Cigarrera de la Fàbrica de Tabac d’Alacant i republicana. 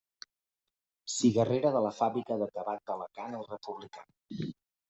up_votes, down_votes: 0, 2